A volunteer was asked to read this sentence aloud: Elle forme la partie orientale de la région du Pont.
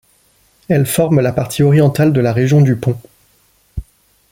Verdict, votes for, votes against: accepted, 2, 0